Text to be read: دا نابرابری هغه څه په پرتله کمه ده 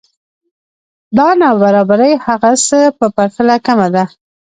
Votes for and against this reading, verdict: 1, 2, rejected